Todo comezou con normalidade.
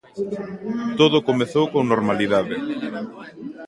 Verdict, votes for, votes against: rejected, 1, 2